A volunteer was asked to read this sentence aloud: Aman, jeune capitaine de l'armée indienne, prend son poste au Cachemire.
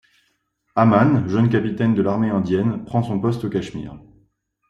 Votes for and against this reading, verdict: 2, 0, accepted